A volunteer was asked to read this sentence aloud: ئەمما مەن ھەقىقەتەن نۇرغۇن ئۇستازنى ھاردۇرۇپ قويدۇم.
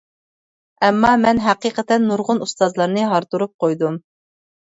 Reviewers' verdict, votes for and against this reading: rejected, 0, 2